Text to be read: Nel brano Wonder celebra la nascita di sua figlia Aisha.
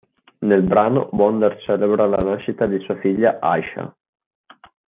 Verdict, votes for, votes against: accepted, 2, 1